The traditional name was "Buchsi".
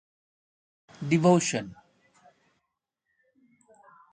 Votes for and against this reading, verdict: 0, 2, rejected